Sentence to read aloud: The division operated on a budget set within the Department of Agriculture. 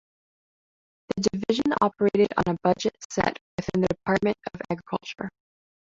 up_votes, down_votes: 2, 0